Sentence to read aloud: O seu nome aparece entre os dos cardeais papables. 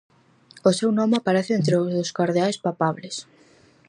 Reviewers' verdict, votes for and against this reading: rejected, 0, 4